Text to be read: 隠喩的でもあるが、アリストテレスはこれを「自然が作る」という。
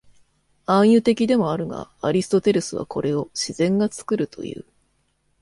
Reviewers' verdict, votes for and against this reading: rejected, 1, 2